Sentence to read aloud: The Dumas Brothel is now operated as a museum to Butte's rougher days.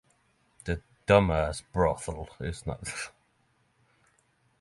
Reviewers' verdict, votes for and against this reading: rejected, 0, 6